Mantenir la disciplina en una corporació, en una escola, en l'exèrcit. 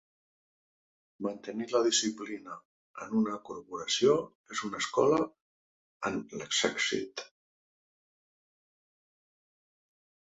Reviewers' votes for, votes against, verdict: 0, 2, rejected